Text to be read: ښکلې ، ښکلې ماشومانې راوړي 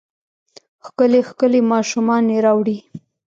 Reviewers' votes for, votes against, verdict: 2, 0, accepted